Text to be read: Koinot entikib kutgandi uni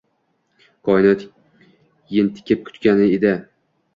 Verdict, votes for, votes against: accepted, 2, 0